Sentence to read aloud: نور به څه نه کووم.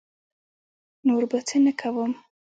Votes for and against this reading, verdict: 1, 2, rejected